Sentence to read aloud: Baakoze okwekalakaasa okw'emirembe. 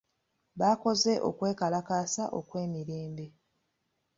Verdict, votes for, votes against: accepted, 2, 0